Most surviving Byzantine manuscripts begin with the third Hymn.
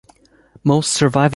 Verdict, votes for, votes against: rejected, 0, 2